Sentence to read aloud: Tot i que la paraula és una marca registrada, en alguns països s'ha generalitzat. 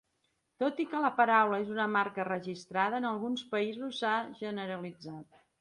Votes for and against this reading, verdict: 2, 0, accepted